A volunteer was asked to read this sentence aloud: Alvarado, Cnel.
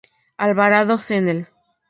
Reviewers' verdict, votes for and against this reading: accepted, 2, 0